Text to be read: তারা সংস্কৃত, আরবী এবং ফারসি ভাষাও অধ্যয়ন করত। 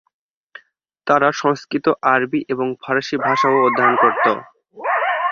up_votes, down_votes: 0, 2